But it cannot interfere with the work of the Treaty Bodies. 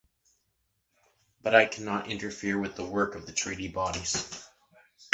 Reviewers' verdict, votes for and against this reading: rejected, 0, 2